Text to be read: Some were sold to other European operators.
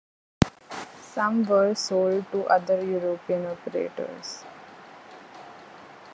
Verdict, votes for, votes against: rejected, 1, 2